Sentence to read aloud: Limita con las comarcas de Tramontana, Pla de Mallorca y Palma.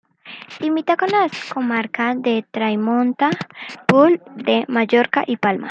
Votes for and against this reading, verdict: 1, 3, rejected